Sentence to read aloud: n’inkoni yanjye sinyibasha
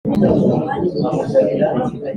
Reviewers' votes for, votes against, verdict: 0, 2, rejected